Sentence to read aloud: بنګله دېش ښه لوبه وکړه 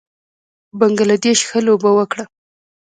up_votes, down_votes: 3, 0